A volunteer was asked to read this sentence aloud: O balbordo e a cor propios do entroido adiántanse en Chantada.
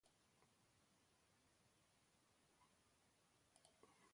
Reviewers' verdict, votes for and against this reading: rejected, 1, 2